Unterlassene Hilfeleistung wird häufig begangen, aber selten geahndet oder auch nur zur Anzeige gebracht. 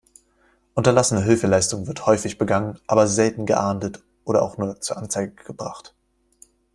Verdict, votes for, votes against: accepted, 2, 0